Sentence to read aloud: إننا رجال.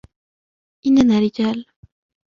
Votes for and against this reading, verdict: 2, 0, accepted